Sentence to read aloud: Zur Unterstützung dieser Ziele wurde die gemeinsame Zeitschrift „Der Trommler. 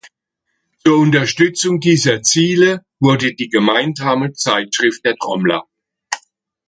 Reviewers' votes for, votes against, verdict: 2, 0, accepted